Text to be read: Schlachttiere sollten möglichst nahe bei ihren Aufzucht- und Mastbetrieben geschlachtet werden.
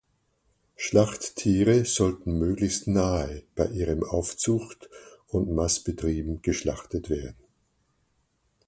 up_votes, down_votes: 4, 0